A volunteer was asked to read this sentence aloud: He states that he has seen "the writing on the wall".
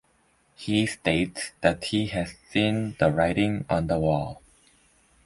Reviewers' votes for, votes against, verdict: 2, 0, accepted